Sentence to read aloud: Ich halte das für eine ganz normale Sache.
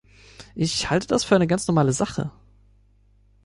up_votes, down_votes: 3, 0